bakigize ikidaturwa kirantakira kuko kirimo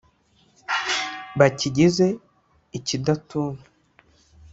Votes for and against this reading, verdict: 1, 2, rejected